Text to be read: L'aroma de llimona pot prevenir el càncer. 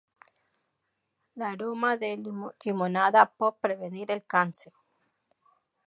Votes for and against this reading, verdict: 0, 2, rejected